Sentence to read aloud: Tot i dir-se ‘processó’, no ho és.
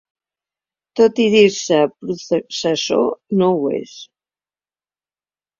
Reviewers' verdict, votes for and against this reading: rejected, 0, 2